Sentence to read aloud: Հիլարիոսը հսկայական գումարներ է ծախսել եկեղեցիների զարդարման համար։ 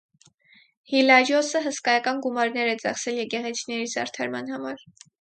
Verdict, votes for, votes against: accepted, 4, 2